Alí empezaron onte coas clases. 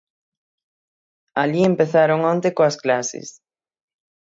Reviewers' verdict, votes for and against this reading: accepted, 6, 0